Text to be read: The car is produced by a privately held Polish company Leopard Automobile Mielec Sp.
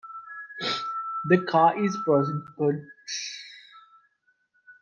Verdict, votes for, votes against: rejected, 0, 2